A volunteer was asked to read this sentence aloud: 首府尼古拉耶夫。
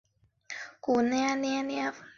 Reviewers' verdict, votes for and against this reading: rejected, 0, 2